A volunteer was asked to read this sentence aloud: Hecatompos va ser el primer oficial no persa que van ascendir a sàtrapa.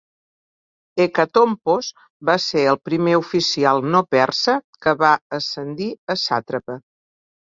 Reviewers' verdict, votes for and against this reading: rejected, 1, 2